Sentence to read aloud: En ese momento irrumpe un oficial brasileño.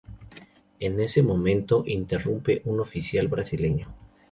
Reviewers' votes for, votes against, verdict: 0, 2, rejected